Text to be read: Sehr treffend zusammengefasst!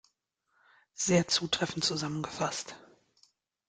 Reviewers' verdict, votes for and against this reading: rejected, 0, 2